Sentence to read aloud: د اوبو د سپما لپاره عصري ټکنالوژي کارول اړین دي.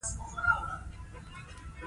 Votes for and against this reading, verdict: 1, 2, rejected